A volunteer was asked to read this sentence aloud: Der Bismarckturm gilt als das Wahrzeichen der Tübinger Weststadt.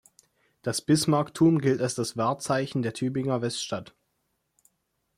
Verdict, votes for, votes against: rejected, 1, 2